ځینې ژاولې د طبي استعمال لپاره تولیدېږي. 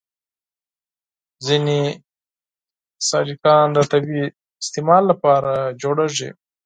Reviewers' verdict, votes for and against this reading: rejected, 0, 4